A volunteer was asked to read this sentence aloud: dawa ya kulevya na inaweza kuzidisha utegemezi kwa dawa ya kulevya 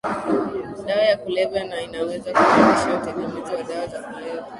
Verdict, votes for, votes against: rejected, 1, 2